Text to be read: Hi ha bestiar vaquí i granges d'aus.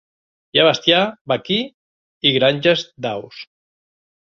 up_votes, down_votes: 4, 0